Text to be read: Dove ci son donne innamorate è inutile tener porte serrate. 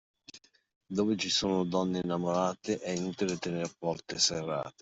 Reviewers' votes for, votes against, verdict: 2, 1, accepted